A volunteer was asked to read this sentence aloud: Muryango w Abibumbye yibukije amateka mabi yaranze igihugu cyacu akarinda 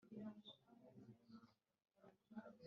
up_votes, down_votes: 0, 3